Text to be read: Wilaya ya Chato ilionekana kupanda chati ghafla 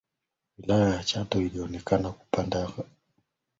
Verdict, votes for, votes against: rejected, 0, 2